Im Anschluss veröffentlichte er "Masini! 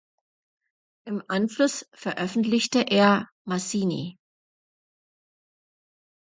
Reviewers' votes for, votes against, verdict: 1, 2, rejected